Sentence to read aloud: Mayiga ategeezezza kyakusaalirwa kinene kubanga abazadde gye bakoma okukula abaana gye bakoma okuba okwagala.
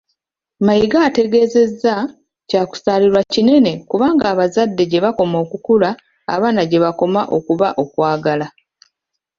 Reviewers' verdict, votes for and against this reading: accepted, 2, 1